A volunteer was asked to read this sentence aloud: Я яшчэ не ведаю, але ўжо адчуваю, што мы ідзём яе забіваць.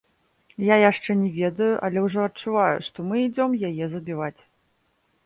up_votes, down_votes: 0, 2